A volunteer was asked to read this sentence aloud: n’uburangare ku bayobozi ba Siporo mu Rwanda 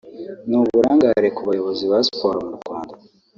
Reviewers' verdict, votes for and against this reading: rejected, 0, 2